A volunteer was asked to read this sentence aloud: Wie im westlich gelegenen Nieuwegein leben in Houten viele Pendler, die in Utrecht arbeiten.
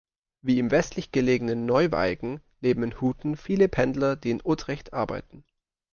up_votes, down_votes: 0, 2